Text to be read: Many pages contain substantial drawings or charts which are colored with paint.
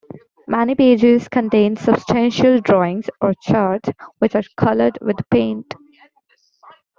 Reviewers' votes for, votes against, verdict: 1, 2, rejected